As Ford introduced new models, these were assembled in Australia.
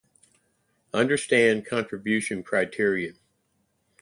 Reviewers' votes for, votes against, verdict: 0, 2, rejected